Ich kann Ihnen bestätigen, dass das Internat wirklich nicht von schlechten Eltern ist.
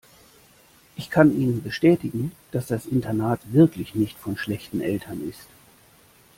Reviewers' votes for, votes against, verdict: 2, 0, accepted